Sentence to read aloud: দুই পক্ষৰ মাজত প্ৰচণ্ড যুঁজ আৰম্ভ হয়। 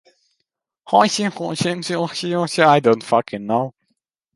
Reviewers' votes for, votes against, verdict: 0, 2, rejected